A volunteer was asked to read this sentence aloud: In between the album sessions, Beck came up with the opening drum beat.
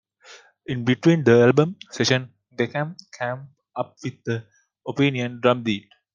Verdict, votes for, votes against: rejected, 0, 2